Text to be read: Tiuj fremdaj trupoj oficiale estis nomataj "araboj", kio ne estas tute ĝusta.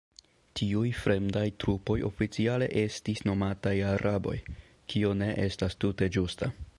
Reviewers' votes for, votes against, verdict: 2, 0, accepted